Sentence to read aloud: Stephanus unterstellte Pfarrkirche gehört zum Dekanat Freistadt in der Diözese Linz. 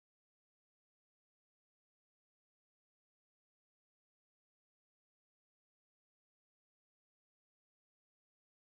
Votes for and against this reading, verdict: 0, 2, rejected